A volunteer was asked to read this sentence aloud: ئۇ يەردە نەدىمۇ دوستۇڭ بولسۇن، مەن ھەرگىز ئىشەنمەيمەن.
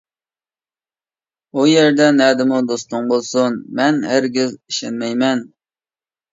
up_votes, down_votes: 2, 0